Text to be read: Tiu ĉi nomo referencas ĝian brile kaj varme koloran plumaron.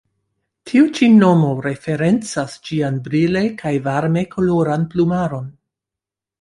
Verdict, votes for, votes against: accepted, 2, 0